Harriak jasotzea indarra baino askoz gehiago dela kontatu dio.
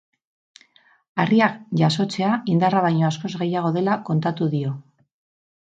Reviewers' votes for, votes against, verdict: 8, 0, accepted